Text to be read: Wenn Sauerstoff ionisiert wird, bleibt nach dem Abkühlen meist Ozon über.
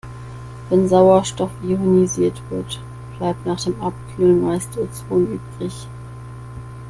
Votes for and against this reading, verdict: 0, 2, rejected